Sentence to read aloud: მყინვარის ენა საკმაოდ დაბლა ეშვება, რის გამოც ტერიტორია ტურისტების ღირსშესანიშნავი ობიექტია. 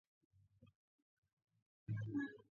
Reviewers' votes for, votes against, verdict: 0, 2, rejected